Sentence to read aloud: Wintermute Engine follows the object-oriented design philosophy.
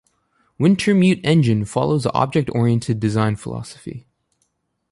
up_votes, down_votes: 2, 0